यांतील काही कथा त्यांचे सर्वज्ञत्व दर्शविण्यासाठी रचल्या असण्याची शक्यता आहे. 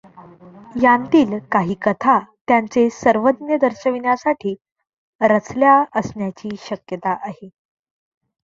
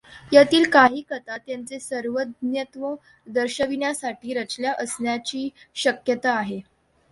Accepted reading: second